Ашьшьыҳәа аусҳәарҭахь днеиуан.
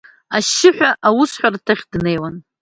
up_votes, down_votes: 2, 0